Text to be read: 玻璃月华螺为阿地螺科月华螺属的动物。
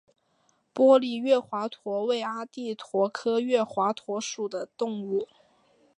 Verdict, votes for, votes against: rejected, 2, 4